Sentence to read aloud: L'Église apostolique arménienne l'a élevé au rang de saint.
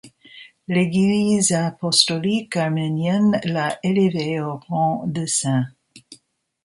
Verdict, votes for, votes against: rejected, 0, 2